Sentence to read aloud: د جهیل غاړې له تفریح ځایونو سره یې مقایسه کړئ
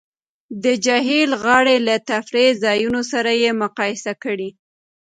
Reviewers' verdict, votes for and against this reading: accepted, 2, 0